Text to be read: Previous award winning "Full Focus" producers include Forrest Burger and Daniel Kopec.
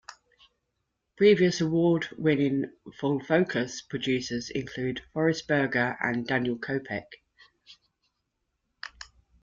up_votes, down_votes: 1, 2